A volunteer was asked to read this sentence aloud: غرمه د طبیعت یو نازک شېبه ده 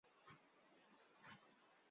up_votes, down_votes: 0, 2